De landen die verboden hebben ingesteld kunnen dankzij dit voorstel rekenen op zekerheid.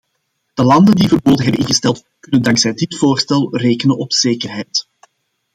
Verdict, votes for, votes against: rejected, 0, 2